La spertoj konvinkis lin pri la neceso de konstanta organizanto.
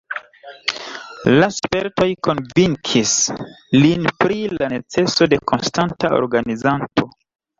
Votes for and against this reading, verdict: 2, 1, accepted